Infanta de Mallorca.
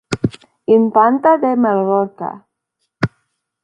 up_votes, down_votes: 0, 2